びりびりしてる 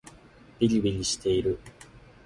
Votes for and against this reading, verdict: 0, 2, rejected